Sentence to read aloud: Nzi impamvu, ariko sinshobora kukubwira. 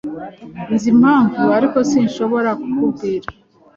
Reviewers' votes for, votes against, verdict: 2, 0, accepted